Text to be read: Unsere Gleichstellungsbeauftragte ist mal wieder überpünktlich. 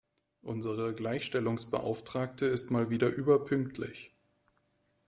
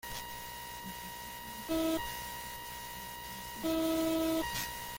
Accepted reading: first